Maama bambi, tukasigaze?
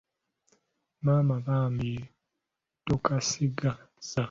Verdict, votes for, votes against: rejected, 0, 4